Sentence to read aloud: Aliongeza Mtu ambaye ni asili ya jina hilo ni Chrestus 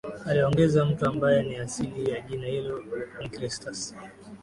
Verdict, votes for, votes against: rejected, 0, 2